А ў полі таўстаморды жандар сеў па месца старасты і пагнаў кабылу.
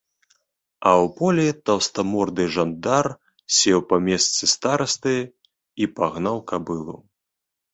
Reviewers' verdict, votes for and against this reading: accepted, 2, 0